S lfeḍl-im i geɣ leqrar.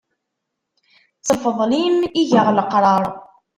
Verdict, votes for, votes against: rejected, 1, 2